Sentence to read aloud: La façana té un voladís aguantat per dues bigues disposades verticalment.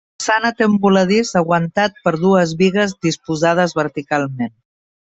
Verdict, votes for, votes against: rejected, 2, 4